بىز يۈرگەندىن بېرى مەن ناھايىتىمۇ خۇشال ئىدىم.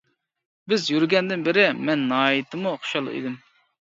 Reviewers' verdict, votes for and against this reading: rejected, 0, 2